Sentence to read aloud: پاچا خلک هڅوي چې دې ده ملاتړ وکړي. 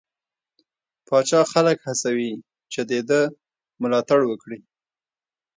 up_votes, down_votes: 0, 2